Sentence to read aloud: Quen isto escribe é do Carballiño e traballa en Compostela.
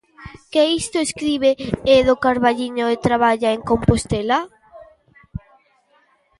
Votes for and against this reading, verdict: 1, 2, rejected